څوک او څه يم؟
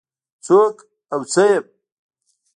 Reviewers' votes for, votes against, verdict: 1, 2, rejected